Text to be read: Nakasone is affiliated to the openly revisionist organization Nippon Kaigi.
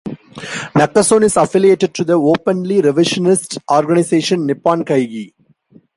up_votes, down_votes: 2, 0